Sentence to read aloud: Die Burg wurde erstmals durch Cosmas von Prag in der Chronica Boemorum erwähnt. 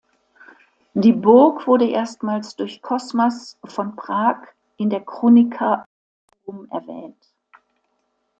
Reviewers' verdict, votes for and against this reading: rejected, 1, 2